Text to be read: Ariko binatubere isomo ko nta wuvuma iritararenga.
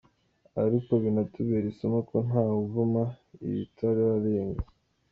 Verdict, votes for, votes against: accepted, 2, 1